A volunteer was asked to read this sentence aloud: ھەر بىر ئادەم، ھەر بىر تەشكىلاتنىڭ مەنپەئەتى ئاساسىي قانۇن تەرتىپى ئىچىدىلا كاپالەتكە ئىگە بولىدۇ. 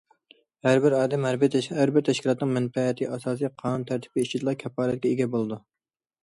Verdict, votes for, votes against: rejected, 0, 2